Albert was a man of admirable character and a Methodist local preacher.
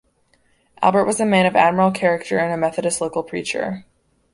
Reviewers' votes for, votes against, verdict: 0, 2, rejected